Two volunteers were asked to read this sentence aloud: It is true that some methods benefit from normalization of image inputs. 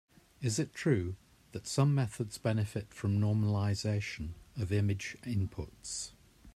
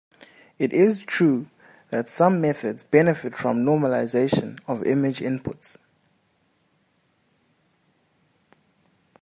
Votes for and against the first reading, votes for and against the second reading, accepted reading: 0, 2, 2, 0, second